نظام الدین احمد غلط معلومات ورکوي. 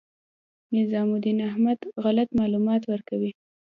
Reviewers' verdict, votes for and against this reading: rejected, 1, 2